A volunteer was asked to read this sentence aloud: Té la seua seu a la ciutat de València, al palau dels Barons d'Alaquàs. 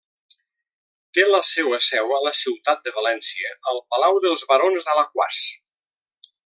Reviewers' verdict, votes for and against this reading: accepted, 2, 0